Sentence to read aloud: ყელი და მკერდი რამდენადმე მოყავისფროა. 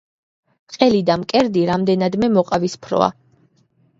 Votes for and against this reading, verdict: 2, 1, accepted